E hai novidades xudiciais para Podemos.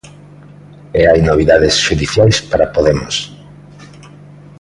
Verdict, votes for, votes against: accepted, 2, 0